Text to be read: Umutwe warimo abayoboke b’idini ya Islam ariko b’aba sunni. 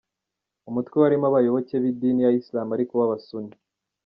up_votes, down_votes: 1, 2